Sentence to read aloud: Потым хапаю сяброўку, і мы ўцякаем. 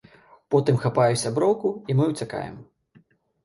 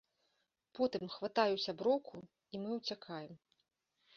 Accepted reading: first